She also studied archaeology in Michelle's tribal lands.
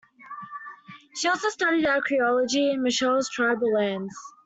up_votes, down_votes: 2, 0